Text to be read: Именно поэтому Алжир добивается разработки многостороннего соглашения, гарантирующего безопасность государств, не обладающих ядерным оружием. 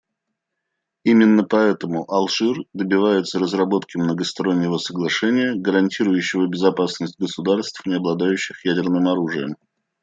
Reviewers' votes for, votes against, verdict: 2, 0, accepted